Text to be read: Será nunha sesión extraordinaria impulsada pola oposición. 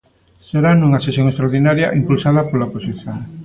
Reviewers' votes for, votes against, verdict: 2, 0, accepted